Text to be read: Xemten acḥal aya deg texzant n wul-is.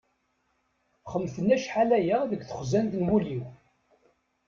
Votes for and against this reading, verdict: 2, 1, accepted